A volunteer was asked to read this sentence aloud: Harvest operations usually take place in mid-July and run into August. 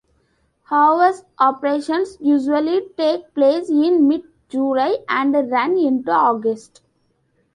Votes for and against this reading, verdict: 0, 2, rejected